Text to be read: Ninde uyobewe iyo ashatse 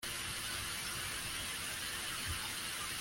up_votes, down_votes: 0, 2